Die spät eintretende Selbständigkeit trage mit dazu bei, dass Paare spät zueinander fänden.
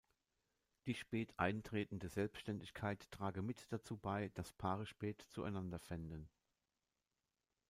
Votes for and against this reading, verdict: 2, 0, accepted